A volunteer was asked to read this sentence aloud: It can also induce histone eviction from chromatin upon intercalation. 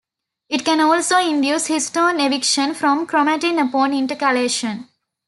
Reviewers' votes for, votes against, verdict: 2, 0, accepted